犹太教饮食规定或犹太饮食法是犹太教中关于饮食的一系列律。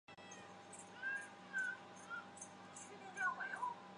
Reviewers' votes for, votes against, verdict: 1, 5, rejected